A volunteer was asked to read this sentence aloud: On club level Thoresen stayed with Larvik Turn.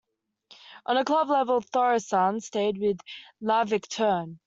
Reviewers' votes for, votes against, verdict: 1, 2, rejected